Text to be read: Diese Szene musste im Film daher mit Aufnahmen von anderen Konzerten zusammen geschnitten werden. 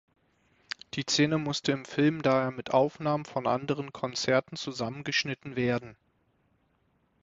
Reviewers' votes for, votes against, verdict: 0, 6, rejected